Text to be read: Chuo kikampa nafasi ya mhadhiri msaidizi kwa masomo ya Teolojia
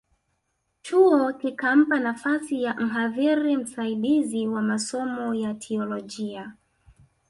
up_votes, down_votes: 1, 2